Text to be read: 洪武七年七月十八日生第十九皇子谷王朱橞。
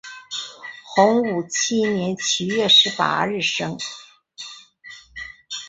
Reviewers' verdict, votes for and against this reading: rejected, 0, 2